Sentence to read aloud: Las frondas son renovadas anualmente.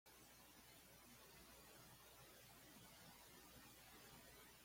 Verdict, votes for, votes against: rejected, 1, 2